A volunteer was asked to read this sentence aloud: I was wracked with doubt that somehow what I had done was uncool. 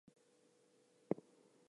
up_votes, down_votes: 0, 2